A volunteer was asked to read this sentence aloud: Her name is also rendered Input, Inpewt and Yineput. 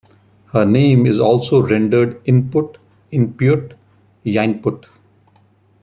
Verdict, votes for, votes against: rejected, 0, 2